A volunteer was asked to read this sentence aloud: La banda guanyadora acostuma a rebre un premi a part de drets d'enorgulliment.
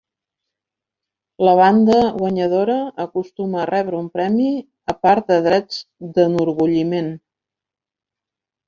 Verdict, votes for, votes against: accepted, 4, 1